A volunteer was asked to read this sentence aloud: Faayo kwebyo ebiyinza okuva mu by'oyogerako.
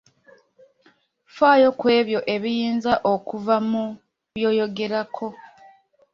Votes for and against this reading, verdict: 2, 0, accepted